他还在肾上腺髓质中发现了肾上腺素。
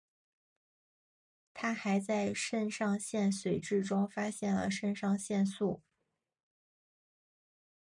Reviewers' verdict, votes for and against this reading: accepted, 2, 0